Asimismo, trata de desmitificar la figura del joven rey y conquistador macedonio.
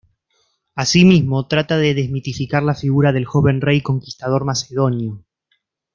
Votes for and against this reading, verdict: 1, 2, rejected